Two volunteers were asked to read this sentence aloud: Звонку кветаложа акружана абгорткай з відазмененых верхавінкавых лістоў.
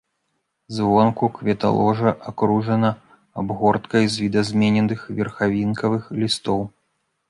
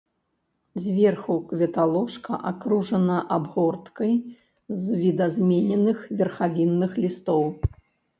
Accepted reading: first